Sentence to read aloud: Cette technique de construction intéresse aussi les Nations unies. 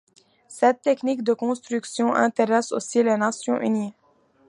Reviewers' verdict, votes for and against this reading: accepted, 2, 0